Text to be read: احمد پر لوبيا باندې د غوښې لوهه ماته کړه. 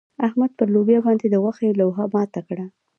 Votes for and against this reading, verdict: 0, 2, rejected